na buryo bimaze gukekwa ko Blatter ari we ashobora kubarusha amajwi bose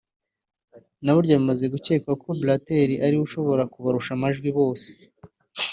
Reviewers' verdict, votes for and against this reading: accepted, 2, 0